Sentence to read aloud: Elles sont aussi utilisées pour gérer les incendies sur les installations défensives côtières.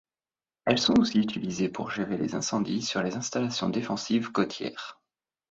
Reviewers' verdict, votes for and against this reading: accepted, 2, 0